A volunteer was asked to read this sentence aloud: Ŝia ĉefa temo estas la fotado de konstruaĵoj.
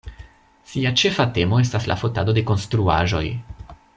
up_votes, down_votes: 0, 2